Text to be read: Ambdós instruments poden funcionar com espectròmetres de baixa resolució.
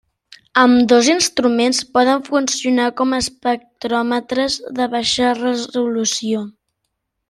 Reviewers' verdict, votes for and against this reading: accepted, 2, 0